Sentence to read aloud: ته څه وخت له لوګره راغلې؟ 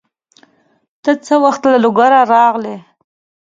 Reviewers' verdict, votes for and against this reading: accepted, 2, 0